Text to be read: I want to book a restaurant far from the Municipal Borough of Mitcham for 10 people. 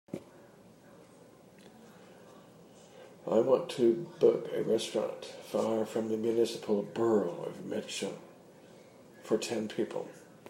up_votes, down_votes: 0, 2